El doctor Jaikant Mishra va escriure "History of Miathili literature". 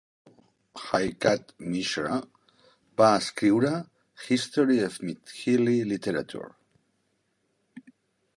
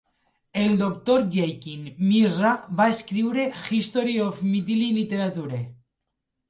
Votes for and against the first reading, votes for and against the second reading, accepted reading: 1, 4, 3, 0, second